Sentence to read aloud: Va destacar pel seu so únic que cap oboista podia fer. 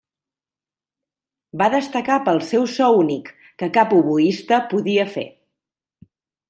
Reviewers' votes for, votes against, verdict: 3, 0, accepted